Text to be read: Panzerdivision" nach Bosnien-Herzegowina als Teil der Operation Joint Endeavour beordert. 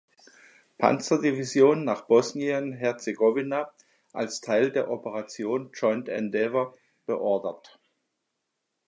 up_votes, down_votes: 2, 0